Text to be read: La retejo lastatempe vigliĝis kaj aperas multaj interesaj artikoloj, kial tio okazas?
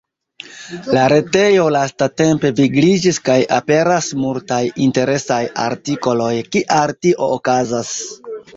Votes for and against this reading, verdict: 1, 2, rejected